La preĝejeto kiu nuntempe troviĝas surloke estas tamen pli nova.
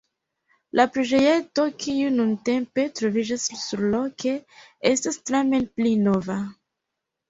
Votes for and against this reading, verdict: 0, 2, rejected